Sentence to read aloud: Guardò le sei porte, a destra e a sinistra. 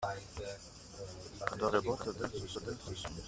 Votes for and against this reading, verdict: 0, 2, rejected